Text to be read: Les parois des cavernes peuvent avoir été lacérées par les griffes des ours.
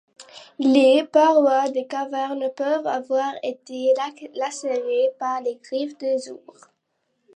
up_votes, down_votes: 0, 2